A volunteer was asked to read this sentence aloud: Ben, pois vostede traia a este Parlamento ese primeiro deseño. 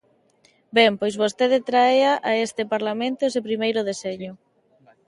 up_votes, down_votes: 1, 2